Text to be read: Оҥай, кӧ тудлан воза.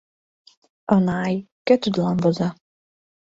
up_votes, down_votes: 0, 2